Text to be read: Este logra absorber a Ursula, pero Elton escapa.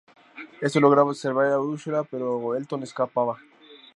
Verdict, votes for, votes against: rejected, 0, 2